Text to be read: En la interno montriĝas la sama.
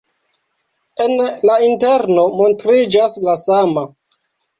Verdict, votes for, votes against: rejected, 1, 2